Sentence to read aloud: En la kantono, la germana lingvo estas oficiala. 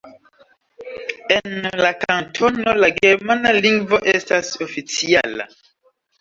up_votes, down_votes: 2, 1